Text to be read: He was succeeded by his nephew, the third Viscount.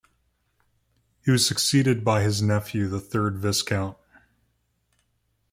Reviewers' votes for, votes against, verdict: 2, 0, accepted